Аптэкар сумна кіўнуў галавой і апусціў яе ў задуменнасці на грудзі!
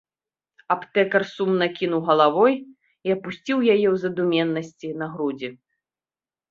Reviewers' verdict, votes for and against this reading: accepted, 2, 1